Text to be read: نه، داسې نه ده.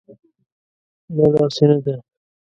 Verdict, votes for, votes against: accepted, 2, 0